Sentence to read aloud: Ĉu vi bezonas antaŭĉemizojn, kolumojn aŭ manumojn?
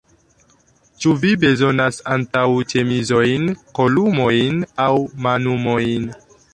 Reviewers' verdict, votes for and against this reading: accepted, 3, 0